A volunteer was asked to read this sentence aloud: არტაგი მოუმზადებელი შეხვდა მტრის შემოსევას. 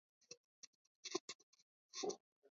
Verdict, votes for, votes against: rejected, 0, 2